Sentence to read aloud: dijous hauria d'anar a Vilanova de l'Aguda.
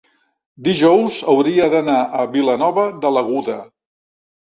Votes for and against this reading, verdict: 2, 0, accepted